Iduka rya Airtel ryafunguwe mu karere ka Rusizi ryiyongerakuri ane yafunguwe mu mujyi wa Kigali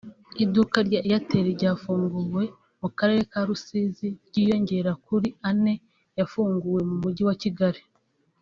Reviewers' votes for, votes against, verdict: 2, 0, accepted